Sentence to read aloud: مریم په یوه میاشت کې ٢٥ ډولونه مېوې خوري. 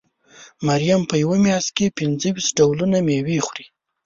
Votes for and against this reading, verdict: 0, 2, rejected